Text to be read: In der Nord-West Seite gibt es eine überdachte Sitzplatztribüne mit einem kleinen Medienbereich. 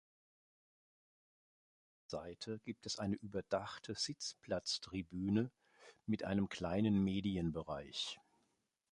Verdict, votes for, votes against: rejected, 0, 2